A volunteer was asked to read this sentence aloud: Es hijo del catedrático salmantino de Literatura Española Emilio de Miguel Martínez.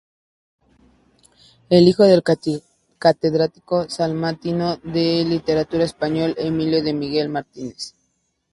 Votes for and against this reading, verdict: 2, 2, rejected